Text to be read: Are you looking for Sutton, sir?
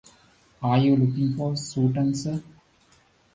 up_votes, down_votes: 0, 2